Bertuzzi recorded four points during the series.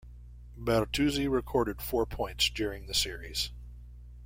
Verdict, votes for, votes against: accepted, 2, 0